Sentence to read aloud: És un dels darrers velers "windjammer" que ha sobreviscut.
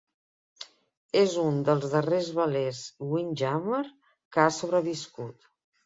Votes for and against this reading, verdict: 2, 0, accepted